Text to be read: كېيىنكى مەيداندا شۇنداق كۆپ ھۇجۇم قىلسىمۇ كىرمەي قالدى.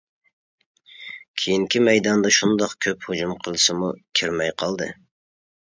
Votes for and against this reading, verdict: 2, 0, accepted